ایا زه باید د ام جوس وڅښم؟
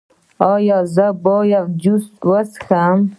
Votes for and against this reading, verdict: 0, 2, rejected